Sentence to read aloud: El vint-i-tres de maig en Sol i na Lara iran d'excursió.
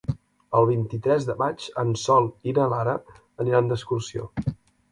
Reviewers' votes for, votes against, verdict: 1, 2, rejected